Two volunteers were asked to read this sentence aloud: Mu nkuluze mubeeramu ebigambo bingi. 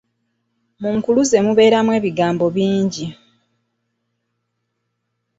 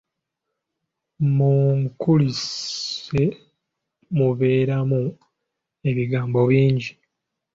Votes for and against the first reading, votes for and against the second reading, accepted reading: 2, 0, 1, 2, first